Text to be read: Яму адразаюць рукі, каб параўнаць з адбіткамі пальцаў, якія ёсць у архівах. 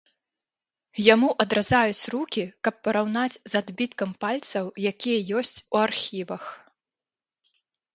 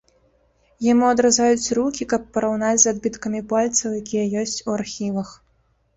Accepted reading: second